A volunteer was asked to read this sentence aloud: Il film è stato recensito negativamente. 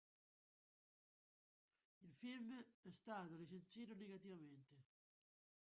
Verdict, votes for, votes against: rejected, 0, 2